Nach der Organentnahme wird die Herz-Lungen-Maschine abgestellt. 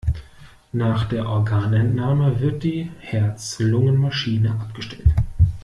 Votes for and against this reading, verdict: 2, 0, accepted